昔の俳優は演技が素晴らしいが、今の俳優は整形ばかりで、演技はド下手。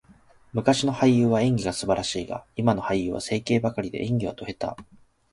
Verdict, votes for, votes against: accepted, 2, 0